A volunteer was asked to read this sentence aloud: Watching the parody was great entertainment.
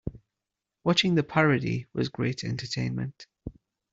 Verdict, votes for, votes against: accepted, 2, 0